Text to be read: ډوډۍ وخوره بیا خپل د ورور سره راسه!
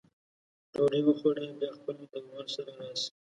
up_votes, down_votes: 1, 2